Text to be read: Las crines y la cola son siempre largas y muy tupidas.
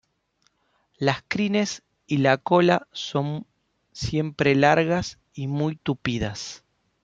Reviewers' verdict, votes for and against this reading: rejected, 1, 2